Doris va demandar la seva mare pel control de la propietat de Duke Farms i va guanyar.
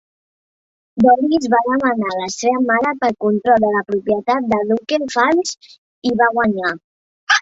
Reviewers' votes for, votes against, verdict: 1, 2, rejected